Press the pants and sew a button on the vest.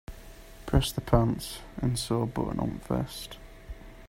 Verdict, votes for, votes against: accepted, 2, 0